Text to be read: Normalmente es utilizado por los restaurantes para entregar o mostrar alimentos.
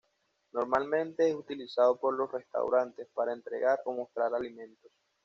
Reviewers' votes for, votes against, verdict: 1, 2, rejected